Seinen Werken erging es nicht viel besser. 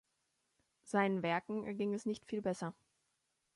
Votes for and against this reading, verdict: 2, 0, accepted